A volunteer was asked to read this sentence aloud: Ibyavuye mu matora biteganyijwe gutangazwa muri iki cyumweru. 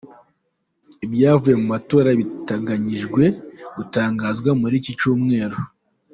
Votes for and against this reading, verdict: 0, 2, rejected